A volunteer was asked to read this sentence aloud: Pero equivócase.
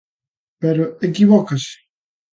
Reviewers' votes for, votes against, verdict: 2, 0, accepted